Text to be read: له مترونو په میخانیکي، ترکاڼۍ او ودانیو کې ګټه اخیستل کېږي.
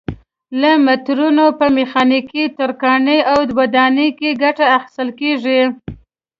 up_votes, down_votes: 1, 2